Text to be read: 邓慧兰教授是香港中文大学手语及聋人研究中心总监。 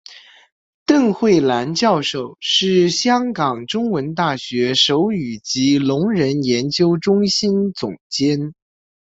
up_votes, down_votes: 2, 0